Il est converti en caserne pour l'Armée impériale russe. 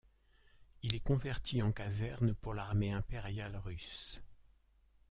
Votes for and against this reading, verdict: 2, 0, accepted